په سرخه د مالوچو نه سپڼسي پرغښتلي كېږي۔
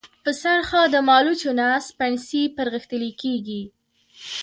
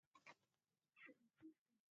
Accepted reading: first